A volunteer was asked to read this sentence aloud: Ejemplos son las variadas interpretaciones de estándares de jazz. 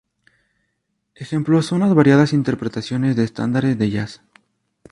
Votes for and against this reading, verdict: 2, 0, accepted